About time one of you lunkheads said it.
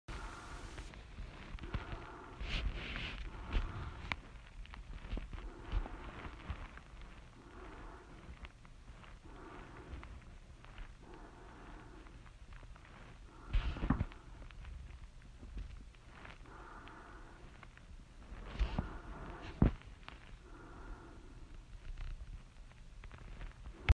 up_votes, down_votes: 0, 4